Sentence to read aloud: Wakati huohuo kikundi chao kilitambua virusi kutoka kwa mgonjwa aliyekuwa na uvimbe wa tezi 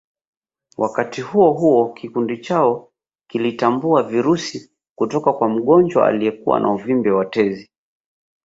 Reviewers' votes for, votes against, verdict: 9, 0, accepted